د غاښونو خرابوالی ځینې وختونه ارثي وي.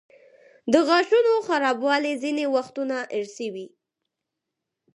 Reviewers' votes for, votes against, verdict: 6, 0, accepted